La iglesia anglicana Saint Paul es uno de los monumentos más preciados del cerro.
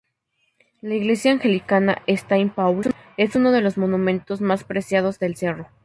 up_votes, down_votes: 0, 2